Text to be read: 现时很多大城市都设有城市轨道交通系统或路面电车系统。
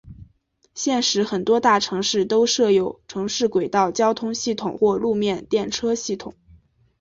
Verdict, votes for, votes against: accepted, 2, 0